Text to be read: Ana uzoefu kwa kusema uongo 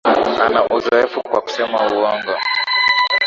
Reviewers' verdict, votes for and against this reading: accepted, 10, 1